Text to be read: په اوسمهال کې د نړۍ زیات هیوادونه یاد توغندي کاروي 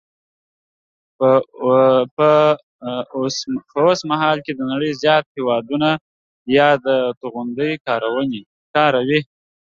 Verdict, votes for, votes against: rejected, 1, 2